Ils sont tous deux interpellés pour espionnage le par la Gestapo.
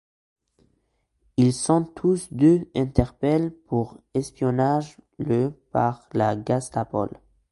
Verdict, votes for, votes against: accepted, 2, 1